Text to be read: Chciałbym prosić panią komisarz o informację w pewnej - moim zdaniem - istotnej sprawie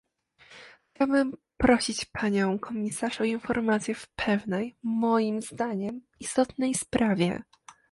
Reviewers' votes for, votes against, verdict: 2, 0, accepted